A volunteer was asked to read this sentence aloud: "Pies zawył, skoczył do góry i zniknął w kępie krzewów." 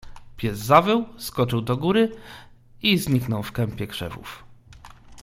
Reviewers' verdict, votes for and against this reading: accepted, 2, 1